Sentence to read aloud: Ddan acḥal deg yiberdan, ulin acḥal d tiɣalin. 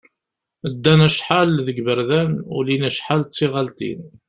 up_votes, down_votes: 2, 0